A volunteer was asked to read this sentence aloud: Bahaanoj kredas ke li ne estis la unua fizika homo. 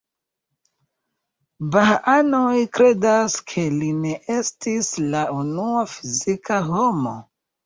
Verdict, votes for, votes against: rejected, 1, 2